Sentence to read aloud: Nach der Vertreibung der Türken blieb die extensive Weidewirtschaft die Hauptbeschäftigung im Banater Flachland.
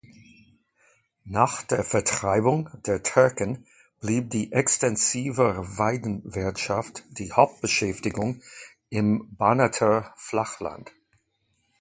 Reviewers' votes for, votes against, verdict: 2, 0, accepted